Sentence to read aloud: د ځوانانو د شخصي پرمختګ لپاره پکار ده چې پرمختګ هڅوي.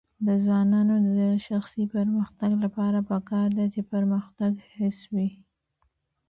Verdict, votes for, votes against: rejected, 1, 2